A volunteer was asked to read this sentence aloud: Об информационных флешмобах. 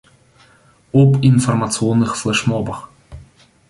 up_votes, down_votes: 2, 0